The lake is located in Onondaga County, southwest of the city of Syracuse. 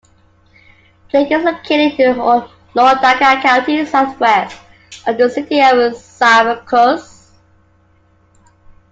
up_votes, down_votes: 1, 2